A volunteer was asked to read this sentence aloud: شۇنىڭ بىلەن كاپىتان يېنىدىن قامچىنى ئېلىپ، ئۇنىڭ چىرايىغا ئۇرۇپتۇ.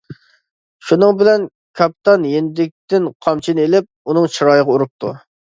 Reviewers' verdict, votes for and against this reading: rejected, 0, 2